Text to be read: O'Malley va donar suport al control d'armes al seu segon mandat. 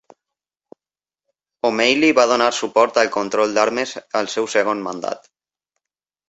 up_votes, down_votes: 2, 1